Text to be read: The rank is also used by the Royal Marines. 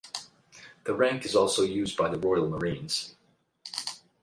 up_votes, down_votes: 8, 4